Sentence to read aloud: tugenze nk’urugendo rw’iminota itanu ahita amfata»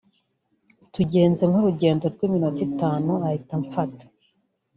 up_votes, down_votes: 2, 1